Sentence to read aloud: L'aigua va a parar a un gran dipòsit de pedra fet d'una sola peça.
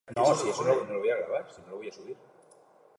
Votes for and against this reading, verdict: 0, 2, rejected